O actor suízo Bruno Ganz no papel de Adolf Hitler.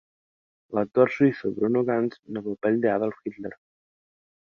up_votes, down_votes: 2, 1